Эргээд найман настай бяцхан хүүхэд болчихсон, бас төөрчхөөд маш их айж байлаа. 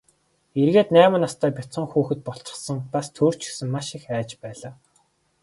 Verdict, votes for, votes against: accepted, 4, 0